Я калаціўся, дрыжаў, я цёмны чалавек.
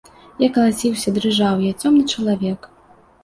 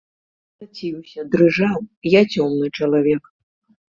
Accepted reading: first